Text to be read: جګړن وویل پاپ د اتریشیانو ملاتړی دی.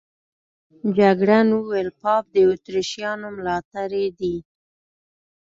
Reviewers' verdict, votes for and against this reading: accepted, 2, 0